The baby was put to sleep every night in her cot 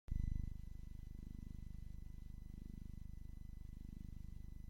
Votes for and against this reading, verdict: 0, 2, rejected